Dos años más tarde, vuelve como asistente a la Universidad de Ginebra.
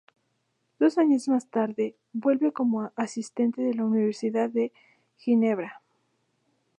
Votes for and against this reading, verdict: 0, 2, rejected